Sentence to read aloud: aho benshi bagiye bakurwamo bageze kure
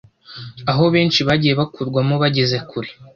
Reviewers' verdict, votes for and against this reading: accepted, 2, 0